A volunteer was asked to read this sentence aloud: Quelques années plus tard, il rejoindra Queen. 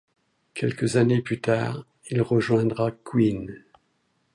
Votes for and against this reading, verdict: 2, 0, accepted